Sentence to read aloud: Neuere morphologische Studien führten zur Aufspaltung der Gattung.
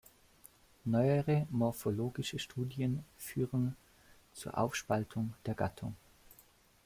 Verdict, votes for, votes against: rejected, 1, 2